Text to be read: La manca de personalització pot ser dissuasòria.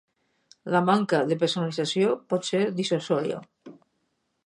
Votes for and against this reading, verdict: 2, 4, rejected